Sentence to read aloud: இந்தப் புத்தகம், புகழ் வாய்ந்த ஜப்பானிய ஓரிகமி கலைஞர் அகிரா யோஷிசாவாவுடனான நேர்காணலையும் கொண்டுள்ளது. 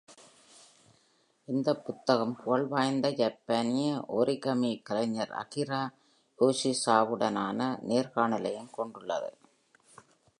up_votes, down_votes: 3, 1